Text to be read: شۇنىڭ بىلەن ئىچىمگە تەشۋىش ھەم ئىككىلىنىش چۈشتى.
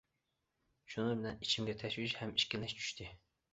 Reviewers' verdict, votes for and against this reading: accepted, 2, 0